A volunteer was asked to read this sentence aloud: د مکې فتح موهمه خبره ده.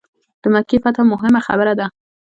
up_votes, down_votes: 0, 2